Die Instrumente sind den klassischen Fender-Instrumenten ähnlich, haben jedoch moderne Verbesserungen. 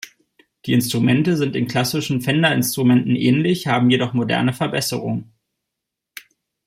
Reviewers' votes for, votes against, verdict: 2, 0, accepted